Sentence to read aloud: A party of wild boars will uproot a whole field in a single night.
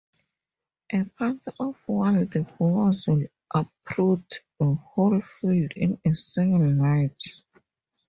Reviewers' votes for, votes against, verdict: 2, 2, rejected